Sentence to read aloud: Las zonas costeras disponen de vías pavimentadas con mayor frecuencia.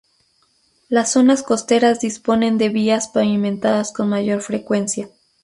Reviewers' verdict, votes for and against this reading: rejected, 0, 2